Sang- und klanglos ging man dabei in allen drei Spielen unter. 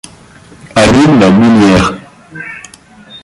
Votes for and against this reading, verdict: 0, 2, rejected